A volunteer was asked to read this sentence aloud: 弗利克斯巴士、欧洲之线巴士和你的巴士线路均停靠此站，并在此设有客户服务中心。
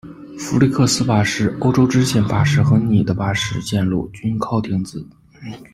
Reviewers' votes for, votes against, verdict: 0, 2, rejected